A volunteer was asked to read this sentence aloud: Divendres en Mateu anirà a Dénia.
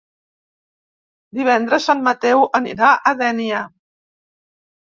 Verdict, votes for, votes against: accepted, 4, 0